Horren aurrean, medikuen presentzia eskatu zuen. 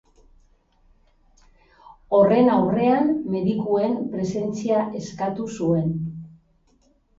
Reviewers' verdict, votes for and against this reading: accepted, 4, 0